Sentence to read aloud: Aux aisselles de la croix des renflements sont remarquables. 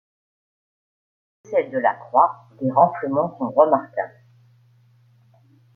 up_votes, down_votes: 0, 2